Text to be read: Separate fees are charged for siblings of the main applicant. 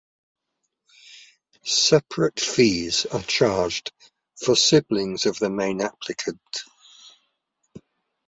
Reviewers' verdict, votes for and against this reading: accepted, 2, 0